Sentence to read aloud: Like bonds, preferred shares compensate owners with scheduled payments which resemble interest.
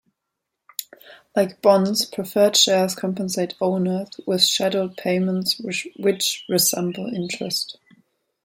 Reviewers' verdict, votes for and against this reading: rejected, 1, 2